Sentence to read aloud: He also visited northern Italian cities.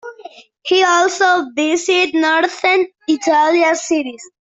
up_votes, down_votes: 2, 1